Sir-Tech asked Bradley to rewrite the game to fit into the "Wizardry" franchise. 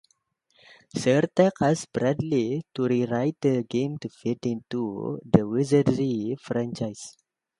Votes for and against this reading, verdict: 2, 1, accepted